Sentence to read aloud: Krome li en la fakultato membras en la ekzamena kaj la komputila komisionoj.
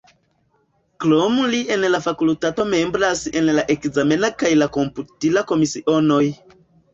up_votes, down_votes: 1, 2